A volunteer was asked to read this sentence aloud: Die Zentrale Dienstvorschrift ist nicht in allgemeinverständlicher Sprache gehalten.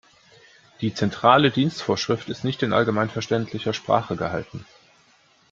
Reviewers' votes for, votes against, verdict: 2, 0, accepted